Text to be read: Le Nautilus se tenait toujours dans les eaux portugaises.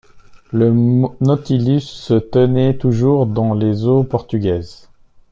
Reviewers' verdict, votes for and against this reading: rejected, 0, 2